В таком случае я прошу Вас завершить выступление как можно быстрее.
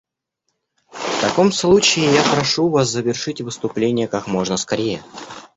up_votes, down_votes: 0, 2